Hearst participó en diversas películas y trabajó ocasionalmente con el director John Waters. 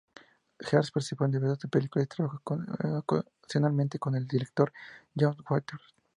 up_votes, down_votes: 0, 4